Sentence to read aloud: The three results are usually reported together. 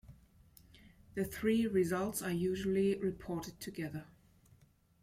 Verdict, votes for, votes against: rejected, 1, 2